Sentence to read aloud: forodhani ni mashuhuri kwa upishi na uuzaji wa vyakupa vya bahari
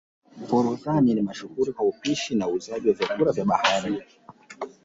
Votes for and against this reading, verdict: 0, 2, rejected